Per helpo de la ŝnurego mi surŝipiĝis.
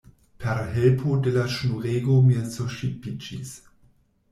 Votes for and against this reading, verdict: 0, 2, rejected